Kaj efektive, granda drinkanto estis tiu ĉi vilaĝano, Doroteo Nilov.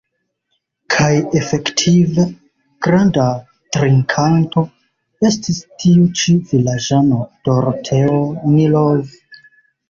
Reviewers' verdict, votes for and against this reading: accepted, 2, 0